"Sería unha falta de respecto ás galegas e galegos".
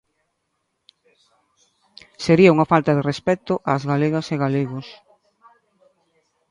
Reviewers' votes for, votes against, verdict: 0, 2, rejected